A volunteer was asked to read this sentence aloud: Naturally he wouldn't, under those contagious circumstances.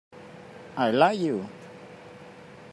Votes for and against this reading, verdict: 0, 2, rejected